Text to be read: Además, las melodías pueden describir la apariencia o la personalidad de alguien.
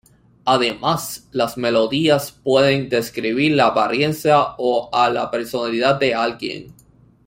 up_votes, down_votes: 2, 1